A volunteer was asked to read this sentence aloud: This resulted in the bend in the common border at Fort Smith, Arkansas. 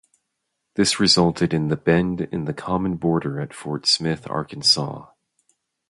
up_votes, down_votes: 0, 2